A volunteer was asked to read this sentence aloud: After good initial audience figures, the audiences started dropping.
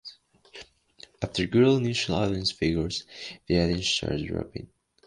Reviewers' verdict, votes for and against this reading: rejected, 1, 2